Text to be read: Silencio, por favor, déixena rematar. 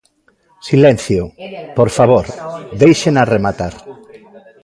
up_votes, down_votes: 1, 2